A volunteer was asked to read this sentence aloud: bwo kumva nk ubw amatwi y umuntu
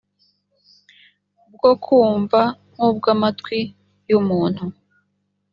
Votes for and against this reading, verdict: 2, 0, accepted